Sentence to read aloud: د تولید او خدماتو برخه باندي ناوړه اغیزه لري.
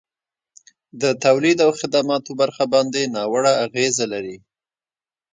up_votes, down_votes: 2, 0